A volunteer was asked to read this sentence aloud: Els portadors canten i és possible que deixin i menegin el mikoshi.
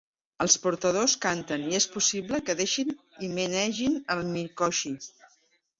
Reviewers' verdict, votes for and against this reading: accepted, 3, 1